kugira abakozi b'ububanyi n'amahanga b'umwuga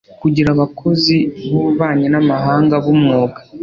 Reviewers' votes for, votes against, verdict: 2, 0, accepted